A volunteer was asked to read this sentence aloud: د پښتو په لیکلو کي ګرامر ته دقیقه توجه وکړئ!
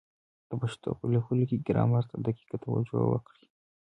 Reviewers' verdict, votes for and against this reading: accepted, 2, 0